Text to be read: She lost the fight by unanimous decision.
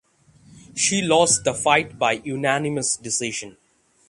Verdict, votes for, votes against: accepted, 6, 0